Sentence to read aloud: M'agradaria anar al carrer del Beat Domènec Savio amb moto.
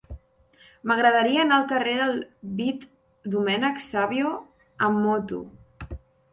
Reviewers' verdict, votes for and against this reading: rejected, 1, 2